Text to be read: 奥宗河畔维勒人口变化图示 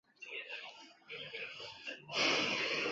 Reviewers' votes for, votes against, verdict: 0, 2, rejected